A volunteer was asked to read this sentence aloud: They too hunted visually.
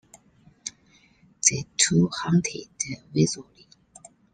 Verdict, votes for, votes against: rejected, 0, 2